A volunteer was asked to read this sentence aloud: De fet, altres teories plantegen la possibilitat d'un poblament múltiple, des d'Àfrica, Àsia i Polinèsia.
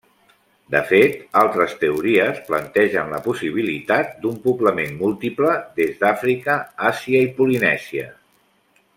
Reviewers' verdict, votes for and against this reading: accepted, 3, 0